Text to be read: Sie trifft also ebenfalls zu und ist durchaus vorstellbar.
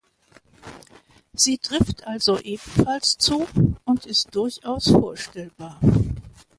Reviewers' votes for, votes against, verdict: 2, 0, accepted